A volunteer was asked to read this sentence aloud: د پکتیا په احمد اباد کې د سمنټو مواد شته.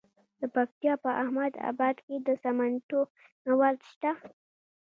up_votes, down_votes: 2, 0